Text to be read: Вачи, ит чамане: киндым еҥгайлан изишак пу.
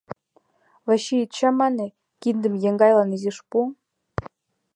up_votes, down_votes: 2, 4